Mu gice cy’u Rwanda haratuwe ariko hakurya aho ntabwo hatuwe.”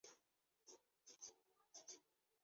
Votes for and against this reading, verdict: 1, 2, rejected